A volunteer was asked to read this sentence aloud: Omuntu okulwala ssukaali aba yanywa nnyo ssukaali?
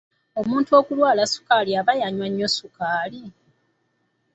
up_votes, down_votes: 2, 0